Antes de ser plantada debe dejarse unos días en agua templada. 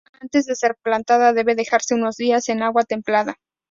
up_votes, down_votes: 2, 0